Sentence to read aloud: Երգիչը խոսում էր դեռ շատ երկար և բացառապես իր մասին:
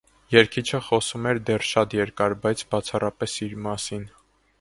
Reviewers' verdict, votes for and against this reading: rejected, 0, 3